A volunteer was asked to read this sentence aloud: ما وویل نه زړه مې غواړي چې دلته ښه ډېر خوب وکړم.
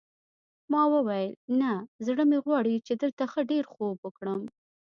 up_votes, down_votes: 2, 0